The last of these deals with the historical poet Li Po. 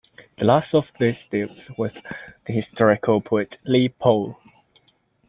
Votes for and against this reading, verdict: 2, 1, accepted